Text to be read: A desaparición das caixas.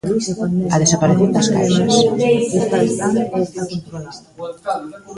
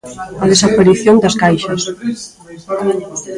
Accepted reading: first